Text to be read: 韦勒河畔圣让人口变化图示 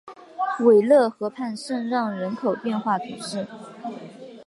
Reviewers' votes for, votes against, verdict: 4, 0, accepted